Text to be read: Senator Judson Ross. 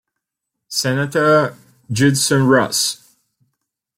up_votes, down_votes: 2, 1